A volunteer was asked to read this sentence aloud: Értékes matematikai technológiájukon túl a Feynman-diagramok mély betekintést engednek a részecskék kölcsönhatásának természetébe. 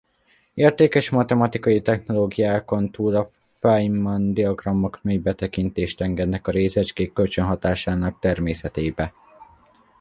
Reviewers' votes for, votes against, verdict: 1, 2, rejected